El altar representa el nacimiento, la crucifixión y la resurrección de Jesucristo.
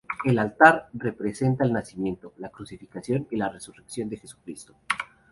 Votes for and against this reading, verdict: 0, 2, rejected